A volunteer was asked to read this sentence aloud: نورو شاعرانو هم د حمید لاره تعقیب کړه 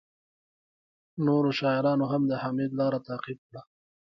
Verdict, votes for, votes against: rejected, 0, 2